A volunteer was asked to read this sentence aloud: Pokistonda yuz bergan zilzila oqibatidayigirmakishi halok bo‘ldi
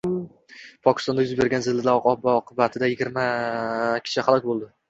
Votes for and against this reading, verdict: 0, 2, rejected